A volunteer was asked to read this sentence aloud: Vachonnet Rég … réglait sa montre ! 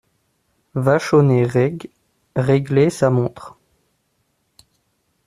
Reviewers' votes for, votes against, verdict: 2, 0, accepted